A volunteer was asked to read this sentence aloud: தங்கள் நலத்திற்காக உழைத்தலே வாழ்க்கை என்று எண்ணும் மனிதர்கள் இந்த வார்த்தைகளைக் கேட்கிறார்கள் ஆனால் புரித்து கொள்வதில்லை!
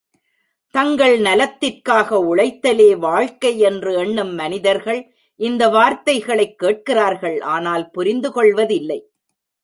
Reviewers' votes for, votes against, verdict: 0, 2, rejected